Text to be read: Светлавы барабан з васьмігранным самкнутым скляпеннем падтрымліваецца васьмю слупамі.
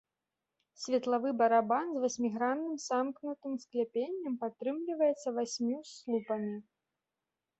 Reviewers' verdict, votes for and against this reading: rejected, 0, 3